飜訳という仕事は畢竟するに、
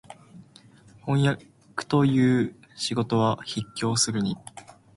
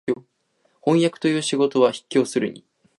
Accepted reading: second